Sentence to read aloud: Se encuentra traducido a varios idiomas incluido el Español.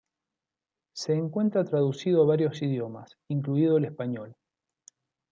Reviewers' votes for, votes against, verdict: 0, 2, rejected